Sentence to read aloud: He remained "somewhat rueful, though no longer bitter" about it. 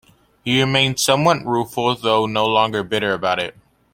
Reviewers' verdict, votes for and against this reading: accepted, 2, 1